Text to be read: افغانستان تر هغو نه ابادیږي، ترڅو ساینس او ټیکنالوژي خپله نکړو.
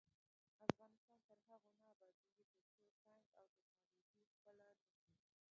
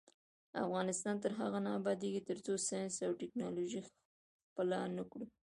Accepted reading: second